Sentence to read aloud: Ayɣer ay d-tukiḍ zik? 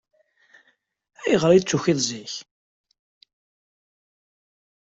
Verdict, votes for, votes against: accepted, 2, 0